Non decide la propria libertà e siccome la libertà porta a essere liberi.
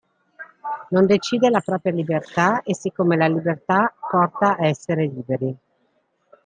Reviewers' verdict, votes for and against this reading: accepted, 2, 0